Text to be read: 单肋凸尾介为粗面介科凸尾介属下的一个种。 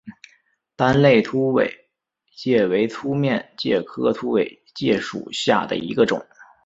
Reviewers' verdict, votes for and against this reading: accepted, 2, 0